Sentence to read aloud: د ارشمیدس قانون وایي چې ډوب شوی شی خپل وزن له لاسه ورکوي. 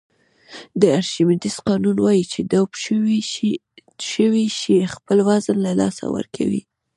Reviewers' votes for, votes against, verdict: 1, 2, rejected